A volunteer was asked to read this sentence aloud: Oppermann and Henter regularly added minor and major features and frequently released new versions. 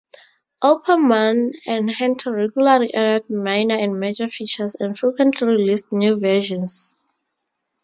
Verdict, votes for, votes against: accepted, 2, 0